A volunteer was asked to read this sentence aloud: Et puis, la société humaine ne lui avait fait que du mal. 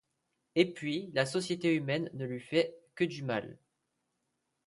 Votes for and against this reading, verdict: 0, 2, rejected